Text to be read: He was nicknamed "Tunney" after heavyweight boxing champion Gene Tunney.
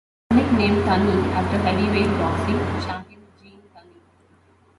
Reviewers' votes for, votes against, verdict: 0, 2, rejected